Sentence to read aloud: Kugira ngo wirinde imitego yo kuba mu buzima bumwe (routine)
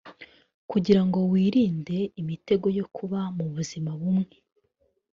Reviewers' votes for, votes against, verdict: 1, 2, rejected